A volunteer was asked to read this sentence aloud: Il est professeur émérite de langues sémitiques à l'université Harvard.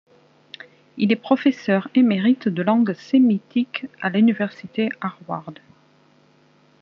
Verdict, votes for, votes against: accepted, 2, 0